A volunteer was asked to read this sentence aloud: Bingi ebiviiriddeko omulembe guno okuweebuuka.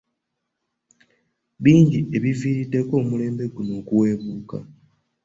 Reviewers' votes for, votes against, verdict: 2, 0, accepted